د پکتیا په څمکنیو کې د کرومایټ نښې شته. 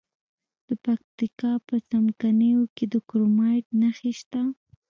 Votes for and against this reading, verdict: 0, 2, rejected